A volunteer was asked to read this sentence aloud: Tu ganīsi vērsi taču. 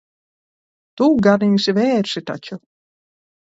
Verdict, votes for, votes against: rejected, 0, 2